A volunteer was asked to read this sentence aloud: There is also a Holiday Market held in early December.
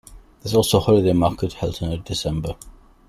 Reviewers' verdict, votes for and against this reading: rejected, 1, 2